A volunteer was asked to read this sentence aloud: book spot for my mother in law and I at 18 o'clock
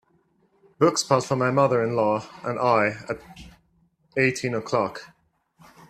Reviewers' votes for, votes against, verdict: 0, 2, rejected